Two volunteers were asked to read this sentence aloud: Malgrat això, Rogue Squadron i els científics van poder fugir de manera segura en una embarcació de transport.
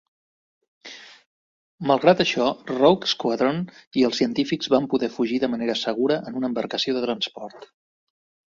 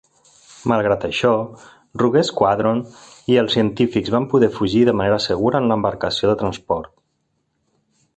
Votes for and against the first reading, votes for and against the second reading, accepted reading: 2, 0, 1, 2, first